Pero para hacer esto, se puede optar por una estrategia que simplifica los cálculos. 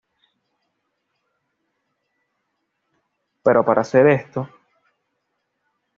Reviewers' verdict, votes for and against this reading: rejected, 1, 2